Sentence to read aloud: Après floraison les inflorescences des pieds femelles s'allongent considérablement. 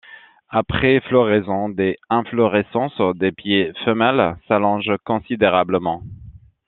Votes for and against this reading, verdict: 0, 2, rejected